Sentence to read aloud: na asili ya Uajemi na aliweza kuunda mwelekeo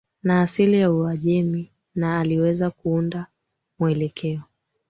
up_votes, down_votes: 2, 1